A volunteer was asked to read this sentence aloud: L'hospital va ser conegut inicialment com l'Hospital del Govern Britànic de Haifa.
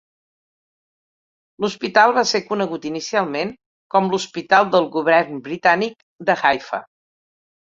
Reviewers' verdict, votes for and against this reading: accepted, 2, 0